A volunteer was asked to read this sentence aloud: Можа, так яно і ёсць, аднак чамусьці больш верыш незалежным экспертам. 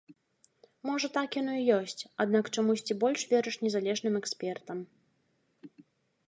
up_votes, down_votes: 2, 0